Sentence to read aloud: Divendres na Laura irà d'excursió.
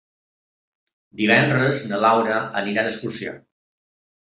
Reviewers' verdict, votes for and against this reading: rejected, 0, 2